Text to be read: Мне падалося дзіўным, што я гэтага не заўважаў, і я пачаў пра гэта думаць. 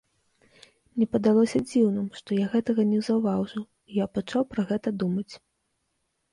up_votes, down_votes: 0, 2